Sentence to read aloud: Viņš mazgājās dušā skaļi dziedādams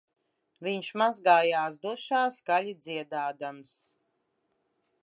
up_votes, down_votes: 2, 1